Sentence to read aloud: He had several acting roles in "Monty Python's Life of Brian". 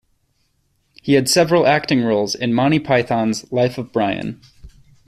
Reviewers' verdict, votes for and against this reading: accepted, 2, 0